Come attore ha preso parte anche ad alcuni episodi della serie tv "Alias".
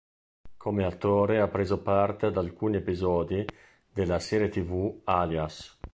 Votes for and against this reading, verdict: 0, 2, rejected